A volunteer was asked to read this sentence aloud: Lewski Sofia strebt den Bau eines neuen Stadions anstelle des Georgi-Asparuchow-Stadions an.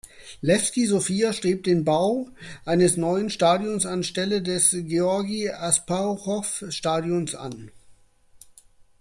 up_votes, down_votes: 2, 0